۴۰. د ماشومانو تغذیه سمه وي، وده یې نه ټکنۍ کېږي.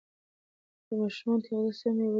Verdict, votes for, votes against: rejected, 0, 2